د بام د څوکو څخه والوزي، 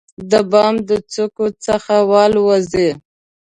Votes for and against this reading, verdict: 0, 2, rejected